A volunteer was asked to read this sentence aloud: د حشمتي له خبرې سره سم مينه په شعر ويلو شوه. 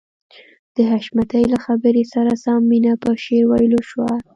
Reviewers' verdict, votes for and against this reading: accepted, 2, 0